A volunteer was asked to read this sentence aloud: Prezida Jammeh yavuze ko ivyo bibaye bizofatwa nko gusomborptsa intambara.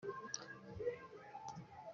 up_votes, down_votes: 0, 2